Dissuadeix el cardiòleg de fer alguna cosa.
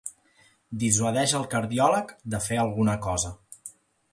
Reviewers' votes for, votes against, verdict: 2, 0, accepted